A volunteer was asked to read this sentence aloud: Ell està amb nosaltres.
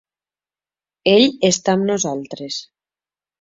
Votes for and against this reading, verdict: 2, 0, accepted